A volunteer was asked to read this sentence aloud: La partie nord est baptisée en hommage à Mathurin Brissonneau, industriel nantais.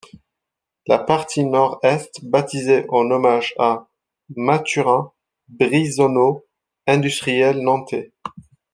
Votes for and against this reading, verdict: 0, 2, rejected